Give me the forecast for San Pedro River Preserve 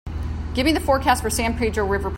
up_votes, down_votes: 0, 2